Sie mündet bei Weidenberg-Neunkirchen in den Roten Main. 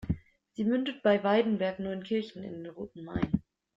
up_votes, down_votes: 2, 0